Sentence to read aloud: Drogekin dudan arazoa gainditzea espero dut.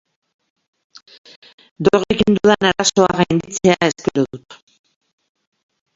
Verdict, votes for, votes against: rejected, 0, 2